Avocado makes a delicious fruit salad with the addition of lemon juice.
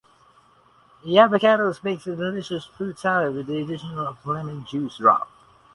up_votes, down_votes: 0, 2